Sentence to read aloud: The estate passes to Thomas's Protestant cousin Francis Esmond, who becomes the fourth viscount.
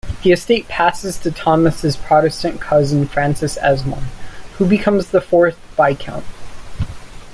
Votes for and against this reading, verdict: 2, 0, accepted